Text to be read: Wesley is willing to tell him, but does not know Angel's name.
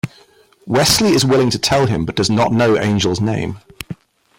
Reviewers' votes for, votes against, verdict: 2, 0, accepted